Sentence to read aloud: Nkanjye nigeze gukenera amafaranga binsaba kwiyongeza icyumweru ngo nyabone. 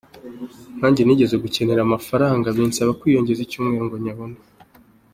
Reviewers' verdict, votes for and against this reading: accepted, 2, 0